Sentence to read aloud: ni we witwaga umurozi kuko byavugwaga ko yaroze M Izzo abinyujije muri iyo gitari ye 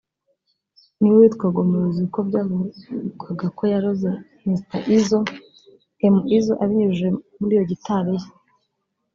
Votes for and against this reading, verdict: 1, 2, rejected